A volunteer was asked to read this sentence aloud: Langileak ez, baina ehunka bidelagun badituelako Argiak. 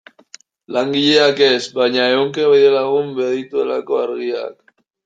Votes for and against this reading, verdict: 0, 2, rejected